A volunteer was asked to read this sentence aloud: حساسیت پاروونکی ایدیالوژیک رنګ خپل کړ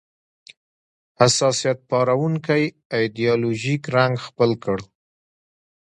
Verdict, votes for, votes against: accepted, 2, 1